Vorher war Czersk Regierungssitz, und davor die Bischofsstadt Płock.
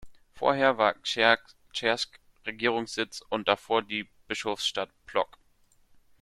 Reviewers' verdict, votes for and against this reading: rejected, 0, 3